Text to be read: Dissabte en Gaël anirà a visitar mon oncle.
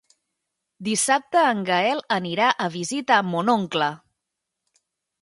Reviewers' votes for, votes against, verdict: 3, 0, accepted